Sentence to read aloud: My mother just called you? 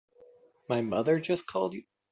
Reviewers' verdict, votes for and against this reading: rejected, 1, 2